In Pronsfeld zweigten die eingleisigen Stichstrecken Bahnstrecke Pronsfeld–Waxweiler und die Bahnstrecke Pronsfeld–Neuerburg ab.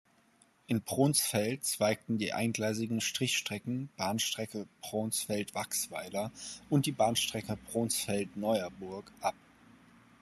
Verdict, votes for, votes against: rejected, 0, 2